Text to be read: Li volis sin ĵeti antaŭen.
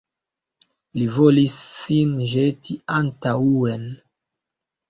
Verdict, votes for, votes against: rejected, 1, 2